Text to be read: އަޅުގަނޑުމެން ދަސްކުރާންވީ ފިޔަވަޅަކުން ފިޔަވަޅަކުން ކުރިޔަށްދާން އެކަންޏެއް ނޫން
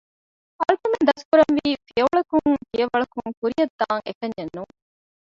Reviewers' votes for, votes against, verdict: 1, 2, rejected